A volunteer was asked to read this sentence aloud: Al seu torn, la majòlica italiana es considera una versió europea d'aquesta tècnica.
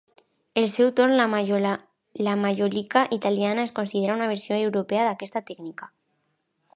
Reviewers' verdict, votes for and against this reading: rejected, 0, 2